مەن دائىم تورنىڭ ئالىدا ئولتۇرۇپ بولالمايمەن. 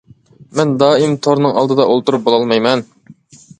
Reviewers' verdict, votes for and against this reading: accepted, 2, 0